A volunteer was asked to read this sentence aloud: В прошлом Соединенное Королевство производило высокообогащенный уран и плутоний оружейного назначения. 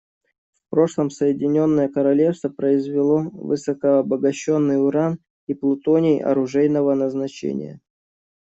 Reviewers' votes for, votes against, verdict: 0, 2, rejected